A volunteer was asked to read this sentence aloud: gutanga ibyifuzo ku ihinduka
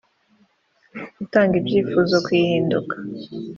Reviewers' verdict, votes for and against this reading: accepted, 3, 0